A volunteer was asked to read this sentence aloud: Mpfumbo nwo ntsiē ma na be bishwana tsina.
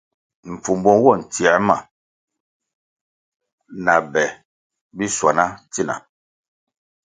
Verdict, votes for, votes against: accepted, 2, 0